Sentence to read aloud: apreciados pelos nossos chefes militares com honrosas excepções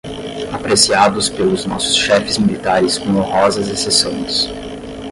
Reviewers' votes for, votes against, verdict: 0, 10, rejected